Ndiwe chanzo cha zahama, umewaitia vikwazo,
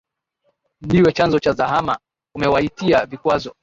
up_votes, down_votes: 2, 0